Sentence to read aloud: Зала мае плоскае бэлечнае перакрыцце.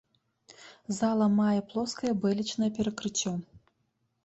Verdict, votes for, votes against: accepted, 2, 0